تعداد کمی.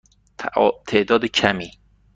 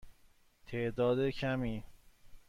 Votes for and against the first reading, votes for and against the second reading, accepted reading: 1, 2, 2, 0, second